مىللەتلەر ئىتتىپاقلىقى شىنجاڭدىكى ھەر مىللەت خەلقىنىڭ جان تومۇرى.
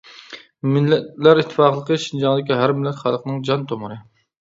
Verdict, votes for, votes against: rejected, 0, 2